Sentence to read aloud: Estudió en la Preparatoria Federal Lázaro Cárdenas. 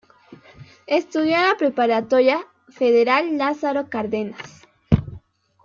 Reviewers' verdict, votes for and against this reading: rejected, 1, 2